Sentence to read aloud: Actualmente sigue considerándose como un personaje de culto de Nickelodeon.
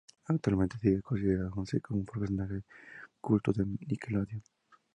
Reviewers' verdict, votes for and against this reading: rejected, 0, 2